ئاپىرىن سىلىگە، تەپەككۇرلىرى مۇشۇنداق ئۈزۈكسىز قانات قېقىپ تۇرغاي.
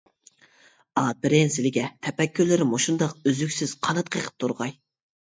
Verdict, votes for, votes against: accepted, 2, 0